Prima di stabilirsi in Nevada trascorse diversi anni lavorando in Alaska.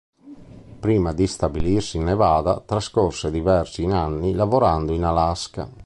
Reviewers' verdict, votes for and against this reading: rejected, 1, 2